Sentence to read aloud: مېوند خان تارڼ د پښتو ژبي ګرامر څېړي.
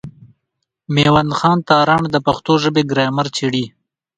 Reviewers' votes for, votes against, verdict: 1, 2, rejected